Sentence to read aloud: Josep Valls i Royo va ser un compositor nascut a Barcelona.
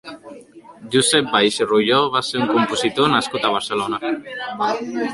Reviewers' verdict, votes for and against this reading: rejected, 1, 2